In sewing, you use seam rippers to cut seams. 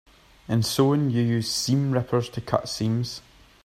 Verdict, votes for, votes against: accepted, 3, 0